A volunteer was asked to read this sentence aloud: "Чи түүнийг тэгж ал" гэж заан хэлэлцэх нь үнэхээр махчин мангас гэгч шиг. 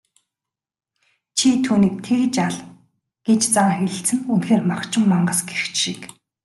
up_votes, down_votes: 2, 0